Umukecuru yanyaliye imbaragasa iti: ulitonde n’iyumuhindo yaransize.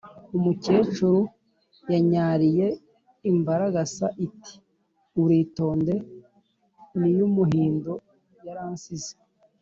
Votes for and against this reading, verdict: 2, 0, accepted